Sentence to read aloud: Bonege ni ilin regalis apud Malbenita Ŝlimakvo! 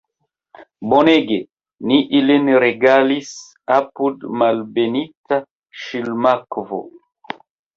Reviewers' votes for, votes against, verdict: 2, 0, accepted